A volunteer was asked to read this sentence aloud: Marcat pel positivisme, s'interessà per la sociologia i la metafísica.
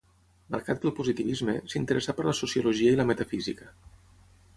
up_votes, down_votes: 6, 0